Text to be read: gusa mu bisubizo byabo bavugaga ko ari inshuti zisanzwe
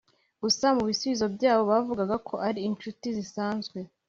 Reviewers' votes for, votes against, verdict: 2, 0, accepted